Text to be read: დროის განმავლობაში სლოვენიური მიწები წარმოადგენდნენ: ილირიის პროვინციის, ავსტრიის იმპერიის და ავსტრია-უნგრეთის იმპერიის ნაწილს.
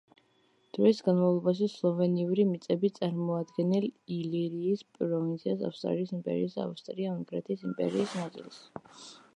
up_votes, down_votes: 1, 2